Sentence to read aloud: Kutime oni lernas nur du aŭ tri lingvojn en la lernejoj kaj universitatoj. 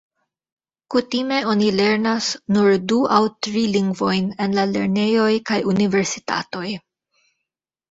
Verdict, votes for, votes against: rejected, 0, 2